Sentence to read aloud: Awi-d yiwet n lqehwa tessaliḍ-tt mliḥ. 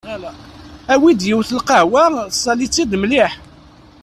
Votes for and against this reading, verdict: 1, 2, rejected